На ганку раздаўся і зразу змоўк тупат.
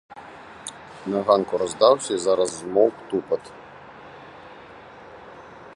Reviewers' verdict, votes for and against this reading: rejected, 0, 2